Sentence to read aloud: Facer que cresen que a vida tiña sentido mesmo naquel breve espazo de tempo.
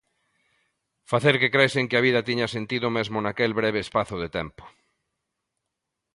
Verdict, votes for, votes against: accepted, 2, 0